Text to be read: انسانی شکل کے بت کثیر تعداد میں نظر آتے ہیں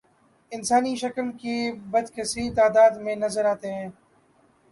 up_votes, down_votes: 3, 0